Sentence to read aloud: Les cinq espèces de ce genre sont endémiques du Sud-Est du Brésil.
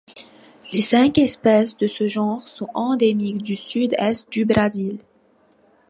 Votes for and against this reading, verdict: 1, 2, rejected